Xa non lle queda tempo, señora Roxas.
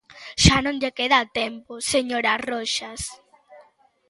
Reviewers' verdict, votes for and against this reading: accepted, 3, 1